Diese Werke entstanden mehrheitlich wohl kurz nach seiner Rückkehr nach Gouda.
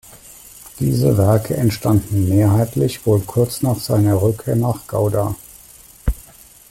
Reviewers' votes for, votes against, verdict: 2, 0, accepted